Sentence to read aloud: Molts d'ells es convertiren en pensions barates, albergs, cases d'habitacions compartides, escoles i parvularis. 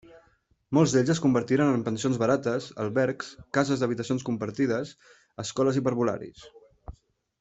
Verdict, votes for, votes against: accepted, 3, 0